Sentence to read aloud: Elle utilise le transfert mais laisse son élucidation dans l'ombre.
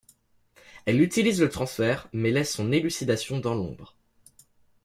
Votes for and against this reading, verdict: 2, 0, accepted